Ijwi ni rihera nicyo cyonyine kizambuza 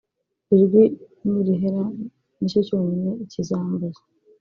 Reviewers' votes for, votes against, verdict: 0, 2, rejected